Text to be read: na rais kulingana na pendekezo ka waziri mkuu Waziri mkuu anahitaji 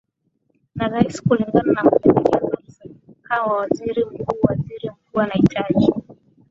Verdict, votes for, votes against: accepted, 2, 1